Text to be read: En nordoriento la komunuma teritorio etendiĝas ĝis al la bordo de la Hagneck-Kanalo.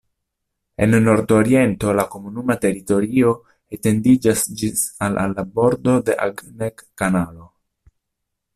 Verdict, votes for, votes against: rejected, 0, 2